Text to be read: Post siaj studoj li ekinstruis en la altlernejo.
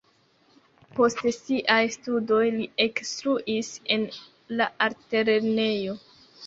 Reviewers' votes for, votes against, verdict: 1, 2, rejected